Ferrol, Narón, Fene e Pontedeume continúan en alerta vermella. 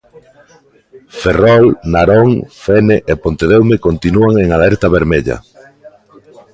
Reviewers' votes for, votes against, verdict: 2, 0, accepted